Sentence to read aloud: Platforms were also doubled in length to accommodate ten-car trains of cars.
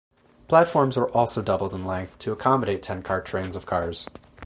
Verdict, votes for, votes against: rejected, 2, 4